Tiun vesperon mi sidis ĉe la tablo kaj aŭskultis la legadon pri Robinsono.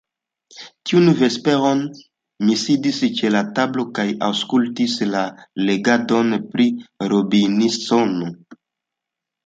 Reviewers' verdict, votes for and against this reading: accepted, 2, 0